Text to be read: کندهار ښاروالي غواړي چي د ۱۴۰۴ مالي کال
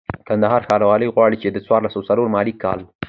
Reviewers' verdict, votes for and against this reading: rejected, 0, 2